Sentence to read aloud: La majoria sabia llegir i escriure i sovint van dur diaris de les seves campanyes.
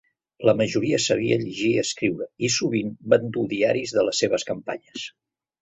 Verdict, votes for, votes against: accepted, 2, 0